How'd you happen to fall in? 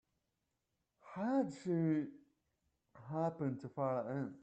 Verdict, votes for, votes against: rejected, 0, 2